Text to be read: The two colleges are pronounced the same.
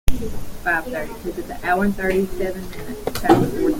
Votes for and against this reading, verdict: 0, 3, rejected